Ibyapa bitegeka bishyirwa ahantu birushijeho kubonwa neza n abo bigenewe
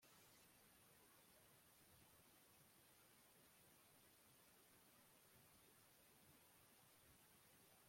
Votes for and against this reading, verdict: 1, 2, rejected